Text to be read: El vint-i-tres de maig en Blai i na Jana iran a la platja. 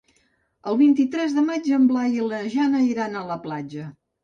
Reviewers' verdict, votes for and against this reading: rejected, 1, 2